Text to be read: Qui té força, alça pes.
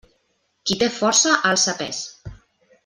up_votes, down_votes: 2, 0